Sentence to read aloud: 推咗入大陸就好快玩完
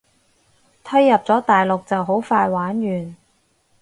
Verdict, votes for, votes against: rejected, 2, 4